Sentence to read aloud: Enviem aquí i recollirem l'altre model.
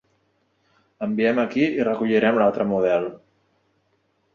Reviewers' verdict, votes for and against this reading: accepted, 3, 0